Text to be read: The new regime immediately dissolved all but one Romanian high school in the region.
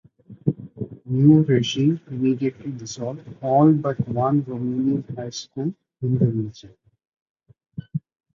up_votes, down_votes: 0, 2